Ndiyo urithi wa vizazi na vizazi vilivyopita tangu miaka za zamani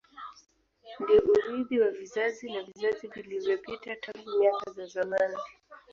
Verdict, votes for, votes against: rejected, 1, 2